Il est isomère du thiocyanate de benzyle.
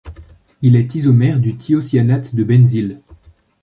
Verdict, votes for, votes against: rejected, 1, 2